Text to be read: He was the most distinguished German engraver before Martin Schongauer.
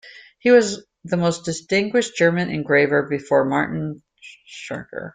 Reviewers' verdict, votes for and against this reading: rejected, 0, 2